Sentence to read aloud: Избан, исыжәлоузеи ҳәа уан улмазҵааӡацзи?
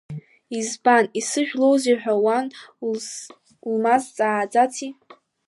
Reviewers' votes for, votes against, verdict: 0, 2, rejected